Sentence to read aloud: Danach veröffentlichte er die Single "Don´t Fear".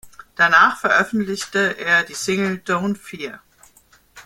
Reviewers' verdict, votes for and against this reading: accepted, 2, 0